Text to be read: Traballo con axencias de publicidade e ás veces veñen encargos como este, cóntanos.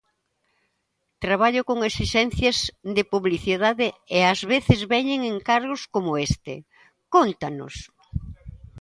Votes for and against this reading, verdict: 0, 2, rejected